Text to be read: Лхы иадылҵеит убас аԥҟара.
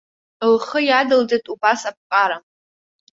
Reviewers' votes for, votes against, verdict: 2, 0, accepted